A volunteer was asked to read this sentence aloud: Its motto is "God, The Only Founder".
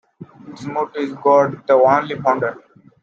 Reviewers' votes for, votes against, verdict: 2, 0, accepted